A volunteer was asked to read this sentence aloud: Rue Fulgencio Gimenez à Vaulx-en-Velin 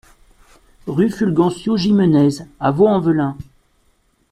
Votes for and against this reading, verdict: 2, 0, accepted